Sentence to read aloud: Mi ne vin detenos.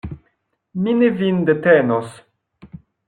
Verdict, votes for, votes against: accepted, 2, 0